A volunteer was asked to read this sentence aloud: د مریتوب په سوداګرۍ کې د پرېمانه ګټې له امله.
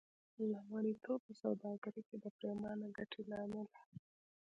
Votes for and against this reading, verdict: 2, 0, accepted